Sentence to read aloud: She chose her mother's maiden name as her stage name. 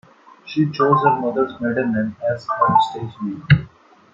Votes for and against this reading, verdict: 1, 2, rejected